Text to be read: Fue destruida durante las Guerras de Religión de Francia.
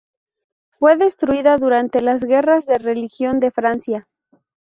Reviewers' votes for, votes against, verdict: 2, 2, rejected